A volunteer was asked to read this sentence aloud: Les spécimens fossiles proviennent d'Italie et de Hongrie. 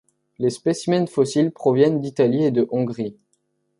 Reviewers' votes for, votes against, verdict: 2, 0, accepted